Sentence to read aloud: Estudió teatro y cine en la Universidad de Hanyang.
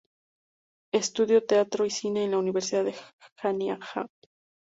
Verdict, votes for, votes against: rejected, 2, 2